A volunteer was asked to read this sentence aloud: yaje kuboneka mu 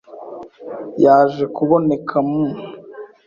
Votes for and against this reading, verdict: 2, 0, accepted